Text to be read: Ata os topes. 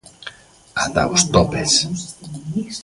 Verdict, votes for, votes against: rejected, 1, 2